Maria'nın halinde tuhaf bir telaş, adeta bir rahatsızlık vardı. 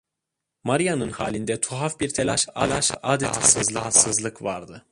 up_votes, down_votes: 0, 2